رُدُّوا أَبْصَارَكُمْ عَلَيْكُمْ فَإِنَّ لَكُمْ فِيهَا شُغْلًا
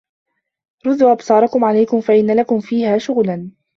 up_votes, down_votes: 2, 1